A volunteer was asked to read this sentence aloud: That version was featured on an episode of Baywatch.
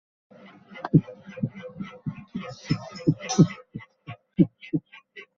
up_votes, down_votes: 0, 3